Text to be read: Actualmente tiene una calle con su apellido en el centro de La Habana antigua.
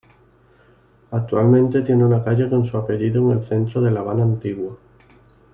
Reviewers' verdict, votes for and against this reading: rejected, 1, 2